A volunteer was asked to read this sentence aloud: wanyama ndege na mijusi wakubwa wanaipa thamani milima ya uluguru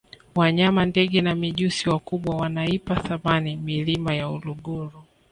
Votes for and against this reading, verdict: 3, 0, accepted